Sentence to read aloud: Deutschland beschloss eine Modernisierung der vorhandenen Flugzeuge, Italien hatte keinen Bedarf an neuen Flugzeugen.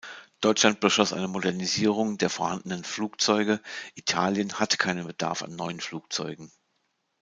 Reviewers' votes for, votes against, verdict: 1, 2, rejected